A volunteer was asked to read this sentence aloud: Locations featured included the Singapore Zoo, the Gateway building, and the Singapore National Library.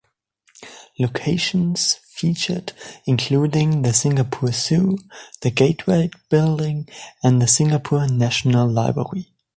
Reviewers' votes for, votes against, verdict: 1, 2, rejected